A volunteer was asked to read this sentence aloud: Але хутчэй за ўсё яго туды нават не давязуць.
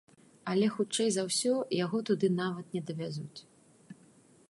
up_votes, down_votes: 2, 0